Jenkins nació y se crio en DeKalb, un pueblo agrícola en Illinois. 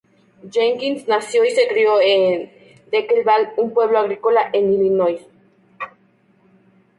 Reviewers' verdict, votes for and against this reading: rejected, 0, 2